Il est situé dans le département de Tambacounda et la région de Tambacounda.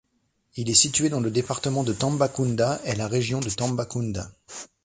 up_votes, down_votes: 2, 1